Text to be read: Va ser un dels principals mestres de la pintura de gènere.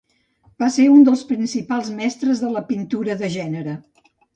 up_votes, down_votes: 2, 0